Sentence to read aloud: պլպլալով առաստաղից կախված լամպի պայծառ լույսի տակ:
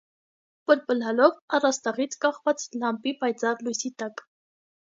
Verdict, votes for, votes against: accepted, 2, 0